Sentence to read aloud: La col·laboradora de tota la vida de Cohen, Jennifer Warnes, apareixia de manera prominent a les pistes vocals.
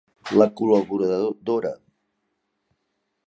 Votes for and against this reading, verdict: 0, 2, rejected